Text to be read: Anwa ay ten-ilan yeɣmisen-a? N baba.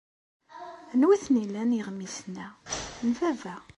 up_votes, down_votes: 2, 0